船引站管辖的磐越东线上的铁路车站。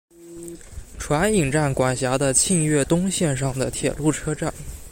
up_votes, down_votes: 2, 0